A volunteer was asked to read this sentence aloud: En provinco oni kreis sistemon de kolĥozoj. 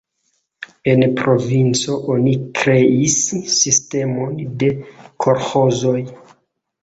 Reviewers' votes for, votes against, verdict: 0, 2, rejected